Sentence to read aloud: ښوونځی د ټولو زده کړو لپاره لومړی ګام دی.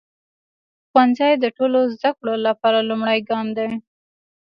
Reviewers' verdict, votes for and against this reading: accepted, 2, 0